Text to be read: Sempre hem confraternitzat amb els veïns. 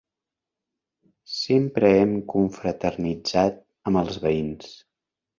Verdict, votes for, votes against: accepted, 4, 0